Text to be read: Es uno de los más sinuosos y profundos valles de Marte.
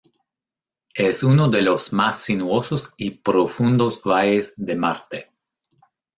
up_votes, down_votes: 0, 2